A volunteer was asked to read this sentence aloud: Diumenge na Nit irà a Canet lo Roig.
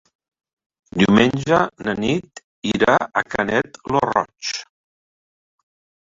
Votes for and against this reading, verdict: 1, 2, rejected